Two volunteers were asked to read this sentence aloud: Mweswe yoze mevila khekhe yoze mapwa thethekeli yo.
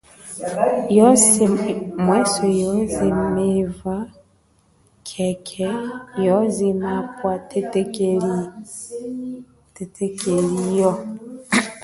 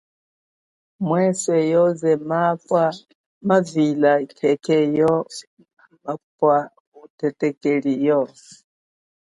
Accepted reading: second